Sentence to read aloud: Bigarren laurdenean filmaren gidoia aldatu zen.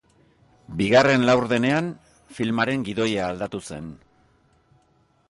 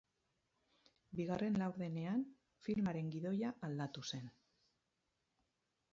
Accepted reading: first